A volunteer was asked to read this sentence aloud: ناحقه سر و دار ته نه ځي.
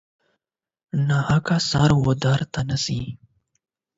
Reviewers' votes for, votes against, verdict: 8, 0, accepted